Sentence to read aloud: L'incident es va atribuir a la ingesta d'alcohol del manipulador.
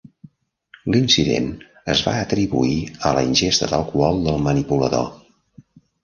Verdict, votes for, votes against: rejected, 1, 2